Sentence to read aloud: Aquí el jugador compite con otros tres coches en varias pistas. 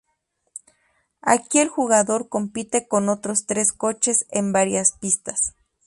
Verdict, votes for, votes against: accepted, 2, 0